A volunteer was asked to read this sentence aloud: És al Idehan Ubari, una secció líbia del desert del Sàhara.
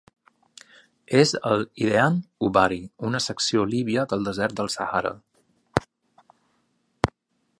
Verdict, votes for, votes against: accepted, 2, 0